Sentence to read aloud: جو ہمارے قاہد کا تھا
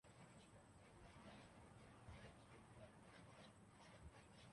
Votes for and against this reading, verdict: 1, 2, rejected